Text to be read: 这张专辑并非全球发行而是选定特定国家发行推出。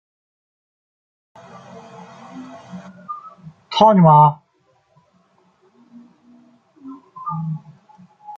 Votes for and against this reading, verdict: 1, 2, rejected